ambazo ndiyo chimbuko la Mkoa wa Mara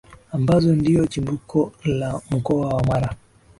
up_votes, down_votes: 2, 0